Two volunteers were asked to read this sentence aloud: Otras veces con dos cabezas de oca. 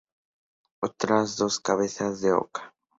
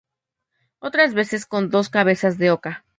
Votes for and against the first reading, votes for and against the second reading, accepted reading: 0, 2, 2, 0, second